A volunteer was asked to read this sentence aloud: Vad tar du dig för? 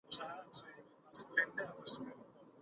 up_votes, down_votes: 0, 2